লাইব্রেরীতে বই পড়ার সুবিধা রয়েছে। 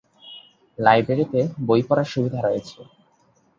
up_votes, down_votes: 3, 0